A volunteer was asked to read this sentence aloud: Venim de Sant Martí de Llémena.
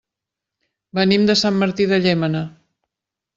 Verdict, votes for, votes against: accepted, 3, 0